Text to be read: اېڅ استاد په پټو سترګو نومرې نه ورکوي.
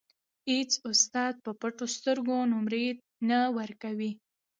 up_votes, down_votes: 3, 0